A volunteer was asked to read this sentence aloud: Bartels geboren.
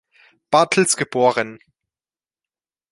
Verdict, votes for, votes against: accepted, 2, 0